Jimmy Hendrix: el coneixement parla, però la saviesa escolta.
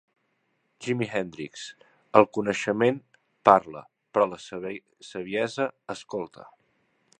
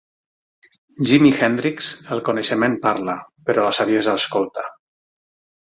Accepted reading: second